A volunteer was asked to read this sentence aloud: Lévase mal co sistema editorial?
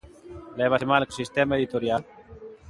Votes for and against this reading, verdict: 1, 2, rejected